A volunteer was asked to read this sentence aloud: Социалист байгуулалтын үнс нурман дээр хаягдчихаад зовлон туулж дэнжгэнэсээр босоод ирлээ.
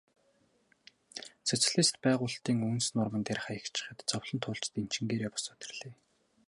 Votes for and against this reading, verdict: 2, 2, rejected